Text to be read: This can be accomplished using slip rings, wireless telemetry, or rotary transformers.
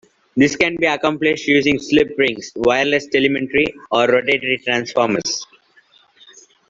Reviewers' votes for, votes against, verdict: 2, 1, accepted